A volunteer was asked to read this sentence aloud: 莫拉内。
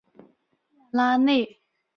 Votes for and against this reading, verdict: 1, 2, rejected